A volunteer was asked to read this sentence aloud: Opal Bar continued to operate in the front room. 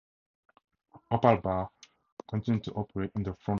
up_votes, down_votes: 0, 2